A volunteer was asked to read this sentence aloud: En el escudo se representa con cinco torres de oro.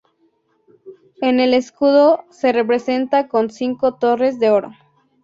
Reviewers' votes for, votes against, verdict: 2, 0, accepted